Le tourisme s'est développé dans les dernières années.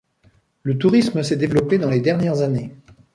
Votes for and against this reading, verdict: 2, 0, accepted